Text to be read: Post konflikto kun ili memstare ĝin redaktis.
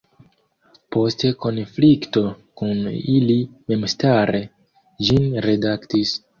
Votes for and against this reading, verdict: 1, 2, rejected